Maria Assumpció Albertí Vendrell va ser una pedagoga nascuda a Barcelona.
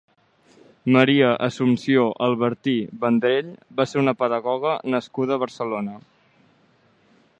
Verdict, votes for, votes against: accepted, 2, 0